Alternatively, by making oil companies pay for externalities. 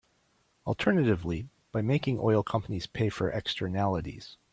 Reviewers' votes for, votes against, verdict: 3, 0, accepted